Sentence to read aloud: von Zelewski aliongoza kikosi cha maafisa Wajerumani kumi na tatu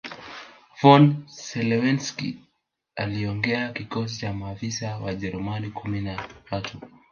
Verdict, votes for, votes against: rejected, 1, 2